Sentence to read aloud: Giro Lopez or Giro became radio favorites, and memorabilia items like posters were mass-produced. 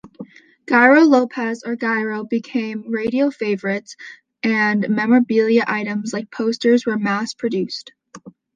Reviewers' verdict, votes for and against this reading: accepted, 2, 0